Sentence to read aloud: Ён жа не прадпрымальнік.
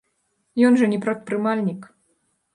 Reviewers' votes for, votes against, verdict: 2, 0, accepted